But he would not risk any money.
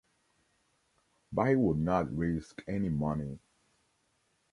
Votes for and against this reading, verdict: 0, 2, rejected